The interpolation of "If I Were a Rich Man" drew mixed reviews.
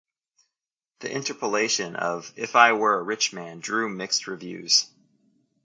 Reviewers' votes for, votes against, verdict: 2, 0, accepted